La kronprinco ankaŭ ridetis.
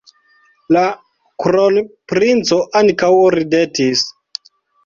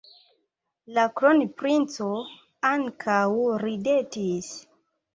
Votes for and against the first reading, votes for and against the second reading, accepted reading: 1, 2, 2, 1, second